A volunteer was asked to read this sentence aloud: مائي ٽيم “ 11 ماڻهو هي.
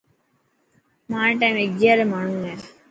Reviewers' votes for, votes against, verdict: 0, 2, rejected